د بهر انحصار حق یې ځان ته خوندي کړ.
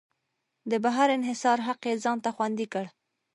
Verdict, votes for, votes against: rejected, 1, 2